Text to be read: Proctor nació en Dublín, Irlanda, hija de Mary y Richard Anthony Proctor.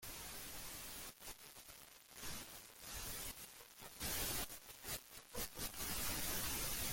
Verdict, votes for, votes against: rejected, 0, 2